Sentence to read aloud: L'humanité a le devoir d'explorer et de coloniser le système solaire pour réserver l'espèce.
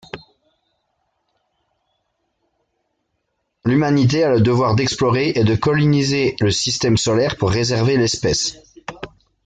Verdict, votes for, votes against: rejected, 1, 2